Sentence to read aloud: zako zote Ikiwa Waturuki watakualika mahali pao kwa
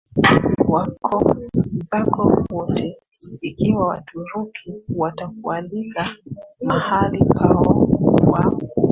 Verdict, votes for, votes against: rejected, 0, 2